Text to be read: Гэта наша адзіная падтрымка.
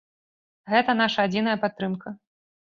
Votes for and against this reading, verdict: 2, 0, accepted